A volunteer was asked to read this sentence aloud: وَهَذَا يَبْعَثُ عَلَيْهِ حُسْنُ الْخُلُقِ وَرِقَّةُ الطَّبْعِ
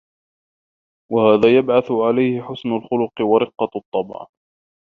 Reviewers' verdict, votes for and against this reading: accepted, 2, 1